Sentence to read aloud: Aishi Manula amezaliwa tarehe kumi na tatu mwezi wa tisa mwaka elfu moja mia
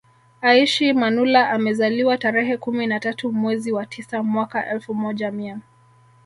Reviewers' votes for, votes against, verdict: 2, 0, accepted